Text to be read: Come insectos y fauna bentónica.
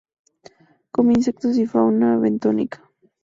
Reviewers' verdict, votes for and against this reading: accepted, 2, 0